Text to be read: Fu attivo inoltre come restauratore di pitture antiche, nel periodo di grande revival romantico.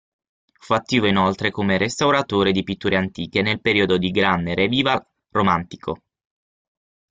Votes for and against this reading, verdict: 0, 6, rejected